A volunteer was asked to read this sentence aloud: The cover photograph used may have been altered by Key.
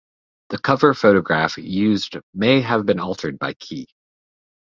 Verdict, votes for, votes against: accepted, 2, 0